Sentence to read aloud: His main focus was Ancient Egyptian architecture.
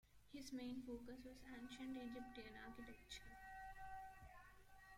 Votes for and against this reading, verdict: 0, 2, rejected